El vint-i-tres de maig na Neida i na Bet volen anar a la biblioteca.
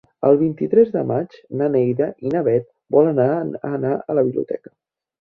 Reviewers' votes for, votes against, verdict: 2, 3, rejected